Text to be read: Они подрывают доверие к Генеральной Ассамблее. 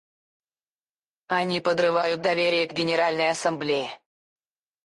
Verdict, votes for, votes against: rejected, 2, 4